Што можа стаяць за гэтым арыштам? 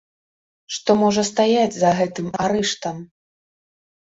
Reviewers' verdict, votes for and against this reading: accepted, 2, 1